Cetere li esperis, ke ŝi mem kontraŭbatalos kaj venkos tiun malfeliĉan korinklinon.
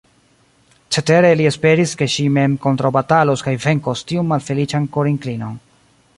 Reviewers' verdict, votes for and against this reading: rejected, 1, 2